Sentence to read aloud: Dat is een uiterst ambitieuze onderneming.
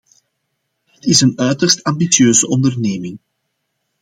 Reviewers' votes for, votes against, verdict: 2, 0, accepted